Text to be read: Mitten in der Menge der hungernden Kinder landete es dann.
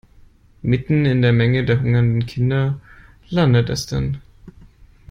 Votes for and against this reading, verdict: 0, 2, rejected